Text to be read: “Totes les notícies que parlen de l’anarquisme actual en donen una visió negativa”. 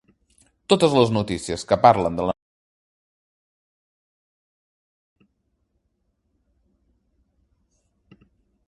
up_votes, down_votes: 1, 2